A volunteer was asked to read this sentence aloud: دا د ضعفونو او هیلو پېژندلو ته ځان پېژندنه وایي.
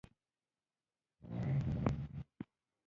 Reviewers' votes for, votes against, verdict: 1, 2, rejected